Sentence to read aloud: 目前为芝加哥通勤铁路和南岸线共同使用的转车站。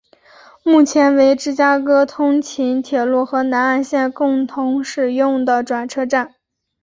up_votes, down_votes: 2, 0